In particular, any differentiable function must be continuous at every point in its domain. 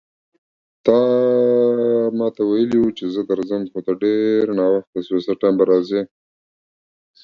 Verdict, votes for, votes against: rejected, 0, 2